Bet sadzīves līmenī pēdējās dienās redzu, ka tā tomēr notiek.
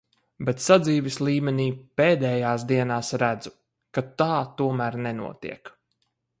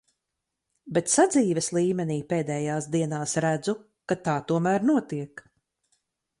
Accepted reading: second